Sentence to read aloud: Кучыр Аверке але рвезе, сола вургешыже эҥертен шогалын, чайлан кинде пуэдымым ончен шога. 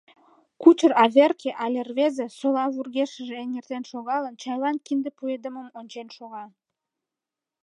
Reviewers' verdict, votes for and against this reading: accepted, 2, 0